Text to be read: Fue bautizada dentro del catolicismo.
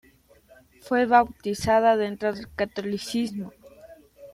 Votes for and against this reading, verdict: 1, 2, rejected